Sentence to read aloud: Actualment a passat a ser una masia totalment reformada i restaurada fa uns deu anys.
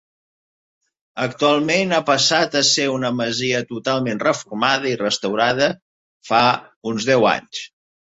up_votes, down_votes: 2, 0